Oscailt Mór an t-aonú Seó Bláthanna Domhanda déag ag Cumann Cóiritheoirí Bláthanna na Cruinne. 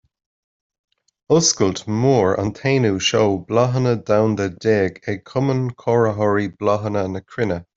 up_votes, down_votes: 1, 2